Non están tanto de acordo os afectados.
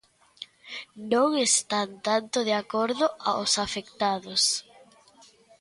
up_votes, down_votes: 0, 2